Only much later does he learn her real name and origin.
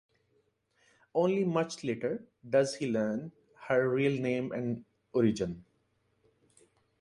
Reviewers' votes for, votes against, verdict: 2, 0, accepted